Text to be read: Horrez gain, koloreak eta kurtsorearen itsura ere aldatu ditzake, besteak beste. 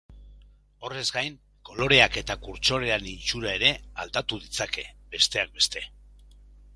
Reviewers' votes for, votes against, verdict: 0, 2, rejected